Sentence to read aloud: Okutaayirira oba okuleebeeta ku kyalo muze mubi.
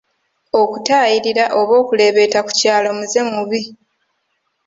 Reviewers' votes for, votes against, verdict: 2, 1, accepted